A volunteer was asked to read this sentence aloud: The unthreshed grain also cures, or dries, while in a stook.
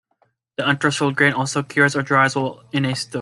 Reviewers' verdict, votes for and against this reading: rejected, 0, 2